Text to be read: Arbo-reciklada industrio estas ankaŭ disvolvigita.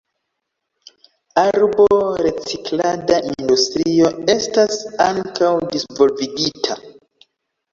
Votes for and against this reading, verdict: 1, 2, rejected